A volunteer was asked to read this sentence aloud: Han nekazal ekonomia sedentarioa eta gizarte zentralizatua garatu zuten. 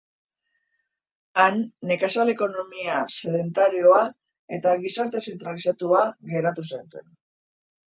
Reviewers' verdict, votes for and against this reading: rejected, 0, 2